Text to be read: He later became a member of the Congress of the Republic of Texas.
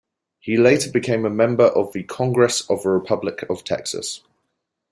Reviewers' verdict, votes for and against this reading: accepted, 2, 0